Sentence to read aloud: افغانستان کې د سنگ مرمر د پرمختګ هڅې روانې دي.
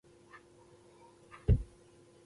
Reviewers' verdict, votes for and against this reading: rejected, 1, 2